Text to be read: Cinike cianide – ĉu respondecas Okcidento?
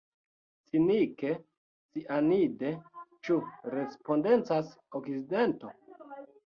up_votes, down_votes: 2, 0